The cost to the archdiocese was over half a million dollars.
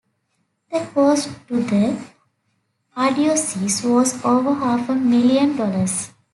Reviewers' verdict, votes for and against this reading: rejected, 1, 2